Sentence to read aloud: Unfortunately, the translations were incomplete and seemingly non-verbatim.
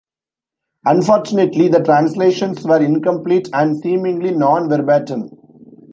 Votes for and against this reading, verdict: 1, 2, rejected